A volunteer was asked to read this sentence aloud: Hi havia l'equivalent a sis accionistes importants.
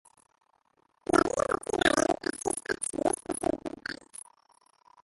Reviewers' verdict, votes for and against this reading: rejected, 0, 2